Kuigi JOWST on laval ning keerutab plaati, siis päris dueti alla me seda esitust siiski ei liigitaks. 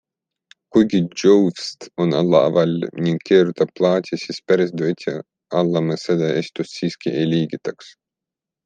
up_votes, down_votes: 1, 2